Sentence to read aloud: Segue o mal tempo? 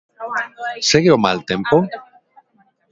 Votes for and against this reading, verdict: 0, 2, rejected